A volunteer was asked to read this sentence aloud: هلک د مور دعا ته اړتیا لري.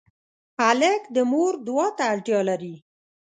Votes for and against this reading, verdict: 2, 0, accepted